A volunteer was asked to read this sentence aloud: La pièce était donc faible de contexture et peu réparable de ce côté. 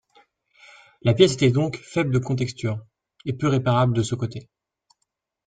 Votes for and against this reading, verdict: 2, 0, accepted